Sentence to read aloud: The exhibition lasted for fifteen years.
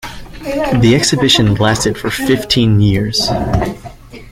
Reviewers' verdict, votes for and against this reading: accepted, 2, 0